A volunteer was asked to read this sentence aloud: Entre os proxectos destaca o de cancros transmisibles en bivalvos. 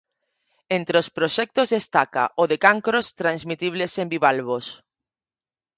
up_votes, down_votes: 0, 4